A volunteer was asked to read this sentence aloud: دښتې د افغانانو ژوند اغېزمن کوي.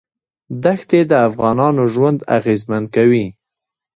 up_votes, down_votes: 0, 2